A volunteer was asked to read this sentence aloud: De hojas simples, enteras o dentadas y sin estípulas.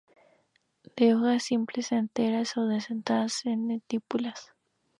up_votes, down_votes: 2, 0